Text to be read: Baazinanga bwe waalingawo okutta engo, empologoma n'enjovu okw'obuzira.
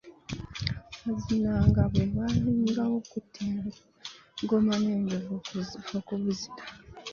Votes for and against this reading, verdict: 0, 2, rejected